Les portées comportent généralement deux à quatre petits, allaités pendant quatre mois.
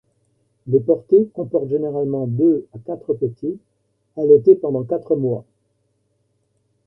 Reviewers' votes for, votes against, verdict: 2, 0, accepted